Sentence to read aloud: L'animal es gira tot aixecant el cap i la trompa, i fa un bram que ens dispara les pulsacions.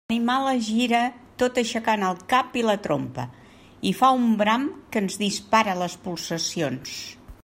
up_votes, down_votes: 1, 2